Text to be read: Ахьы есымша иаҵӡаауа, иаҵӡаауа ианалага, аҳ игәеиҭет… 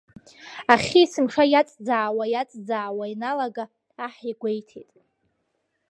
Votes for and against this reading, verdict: 2, 0, accepted